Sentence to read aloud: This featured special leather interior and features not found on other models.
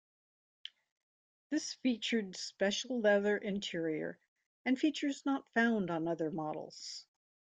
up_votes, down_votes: 2, 0